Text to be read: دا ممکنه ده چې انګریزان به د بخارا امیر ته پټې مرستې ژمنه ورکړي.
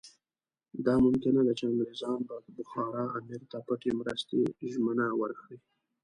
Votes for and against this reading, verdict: 2, 0, accepted